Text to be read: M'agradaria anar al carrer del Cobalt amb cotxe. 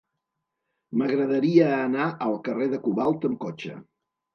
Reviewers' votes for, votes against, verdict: 0, 2, rejected